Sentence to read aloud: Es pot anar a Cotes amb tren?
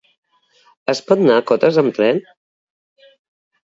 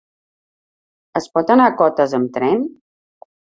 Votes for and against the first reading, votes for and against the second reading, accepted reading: 1, 2, 3, 0, second